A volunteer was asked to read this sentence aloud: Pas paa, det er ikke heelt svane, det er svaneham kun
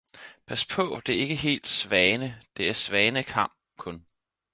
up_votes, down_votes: 0, 4